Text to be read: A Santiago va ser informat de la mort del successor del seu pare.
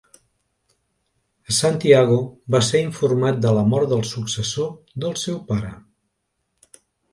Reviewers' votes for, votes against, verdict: 1, 2, rejected